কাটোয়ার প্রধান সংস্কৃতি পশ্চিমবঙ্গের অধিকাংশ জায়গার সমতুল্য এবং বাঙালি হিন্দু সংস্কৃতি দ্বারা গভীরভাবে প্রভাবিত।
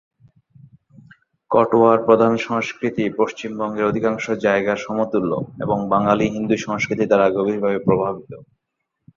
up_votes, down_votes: 1, 2